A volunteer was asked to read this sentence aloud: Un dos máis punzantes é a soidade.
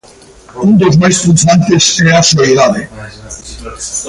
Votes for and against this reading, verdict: 0, 2, rejected